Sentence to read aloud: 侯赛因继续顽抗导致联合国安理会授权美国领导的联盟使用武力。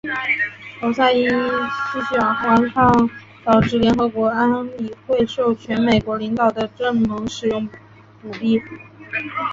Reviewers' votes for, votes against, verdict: 0, 2, rejected